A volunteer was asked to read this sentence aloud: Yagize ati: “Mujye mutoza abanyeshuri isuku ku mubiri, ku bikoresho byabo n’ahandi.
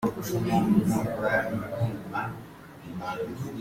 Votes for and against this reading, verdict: 0, 2, rejected